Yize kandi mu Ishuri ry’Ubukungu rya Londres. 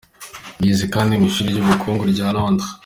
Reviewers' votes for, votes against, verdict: 2, 0, accepted